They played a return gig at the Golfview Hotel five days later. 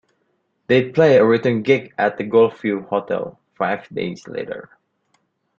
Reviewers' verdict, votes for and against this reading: accepted, 2, 0